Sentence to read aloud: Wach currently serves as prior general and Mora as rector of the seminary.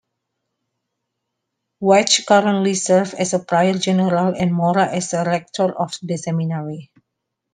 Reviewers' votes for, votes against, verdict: 0, 2, rejected